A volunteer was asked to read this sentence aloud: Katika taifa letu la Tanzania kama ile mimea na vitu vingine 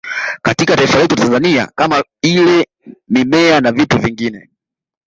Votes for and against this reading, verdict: 1, 2, rejected